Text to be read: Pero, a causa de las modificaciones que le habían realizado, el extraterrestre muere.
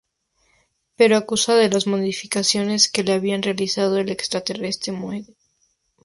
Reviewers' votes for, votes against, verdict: 0, 2, rejected